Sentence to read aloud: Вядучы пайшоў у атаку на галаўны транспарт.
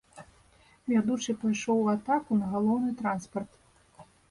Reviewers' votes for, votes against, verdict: 1, 2, rejected